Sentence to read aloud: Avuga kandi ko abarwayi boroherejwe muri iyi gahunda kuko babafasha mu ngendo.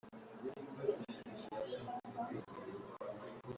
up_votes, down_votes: 0, 2